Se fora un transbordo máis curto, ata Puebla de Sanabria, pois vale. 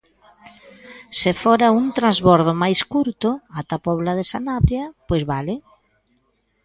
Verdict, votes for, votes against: accepted, 2, 1